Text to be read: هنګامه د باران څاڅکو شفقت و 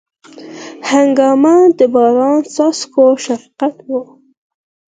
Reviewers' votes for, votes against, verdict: 2, 4, rejected